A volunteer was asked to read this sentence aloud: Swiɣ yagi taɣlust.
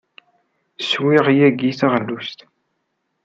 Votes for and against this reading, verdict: 2, 0, accepted